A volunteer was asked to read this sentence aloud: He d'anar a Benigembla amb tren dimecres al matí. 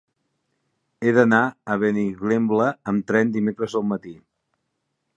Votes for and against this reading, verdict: 0, 2, rejected